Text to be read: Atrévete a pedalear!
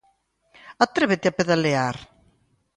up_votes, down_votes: 2, 0